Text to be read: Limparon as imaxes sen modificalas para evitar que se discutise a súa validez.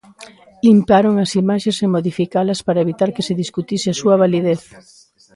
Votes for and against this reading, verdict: 0, 2, rejected